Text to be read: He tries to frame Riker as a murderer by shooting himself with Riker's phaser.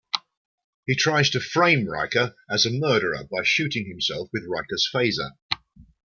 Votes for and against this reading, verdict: 2, 1, accepted